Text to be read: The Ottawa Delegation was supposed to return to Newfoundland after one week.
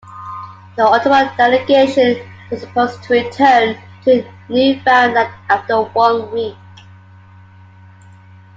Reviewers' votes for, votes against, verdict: 2, 1, accepted